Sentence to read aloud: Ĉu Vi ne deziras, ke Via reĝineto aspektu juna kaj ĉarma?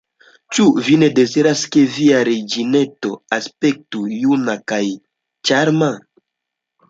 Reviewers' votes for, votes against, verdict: 2, 0, accepted